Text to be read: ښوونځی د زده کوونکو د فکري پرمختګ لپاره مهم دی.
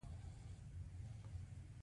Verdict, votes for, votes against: accepted, 2, 1